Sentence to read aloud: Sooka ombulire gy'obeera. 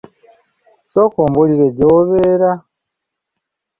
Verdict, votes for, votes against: accepted, 2, 0